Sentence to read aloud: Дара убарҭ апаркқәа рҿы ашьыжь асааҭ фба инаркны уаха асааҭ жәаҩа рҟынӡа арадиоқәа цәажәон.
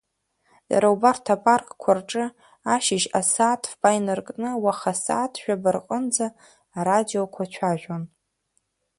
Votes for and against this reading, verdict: 1, 2, rejected